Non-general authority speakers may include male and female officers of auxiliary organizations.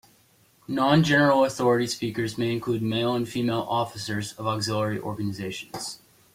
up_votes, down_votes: 3, 0